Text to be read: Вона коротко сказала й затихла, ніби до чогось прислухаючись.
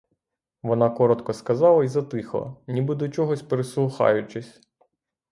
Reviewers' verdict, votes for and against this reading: accepted, 3, 0